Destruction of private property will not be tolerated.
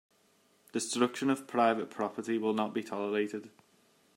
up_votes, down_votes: 2, 1